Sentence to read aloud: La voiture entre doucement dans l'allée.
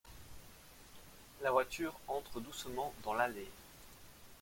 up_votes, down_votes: 2, 0